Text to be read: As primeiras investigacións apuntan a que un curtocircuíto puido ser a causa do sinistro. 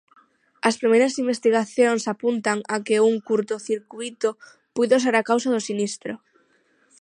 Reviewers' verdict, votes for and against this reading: accepted, 6, 0